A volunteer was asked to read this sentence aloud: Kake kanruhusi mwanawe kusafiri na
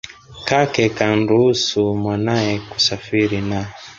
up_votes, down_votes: 0, 2